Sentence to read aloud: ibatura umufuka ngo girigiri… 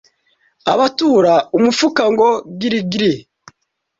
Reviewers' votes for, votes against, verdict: 0, 2, rejected